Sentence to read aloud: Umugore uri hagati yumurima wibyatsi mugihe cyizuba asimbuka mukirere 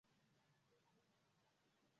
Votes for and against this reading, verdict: 0, 2, rejected